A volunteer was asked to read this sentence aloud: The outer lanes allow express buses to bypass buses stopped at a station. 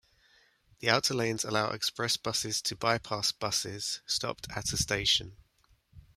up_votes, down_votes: 1, 2